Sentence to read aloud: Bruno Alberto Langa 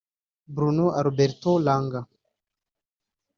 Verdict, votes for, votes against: rejected, 1, 2